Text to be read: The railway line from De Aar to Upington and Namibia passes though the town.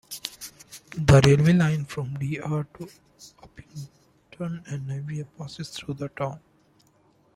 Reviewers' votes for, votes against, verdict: 2, 1, accepted